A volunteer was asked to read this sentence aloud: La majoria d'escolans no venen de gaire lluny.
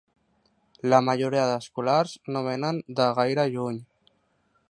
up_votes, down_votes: 0, 2